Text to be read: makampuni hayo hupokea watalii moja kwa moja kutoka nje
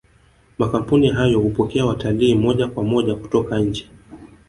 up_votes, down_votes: 2, 0